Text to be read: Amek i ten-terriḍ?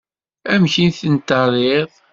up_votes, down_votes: 2, 0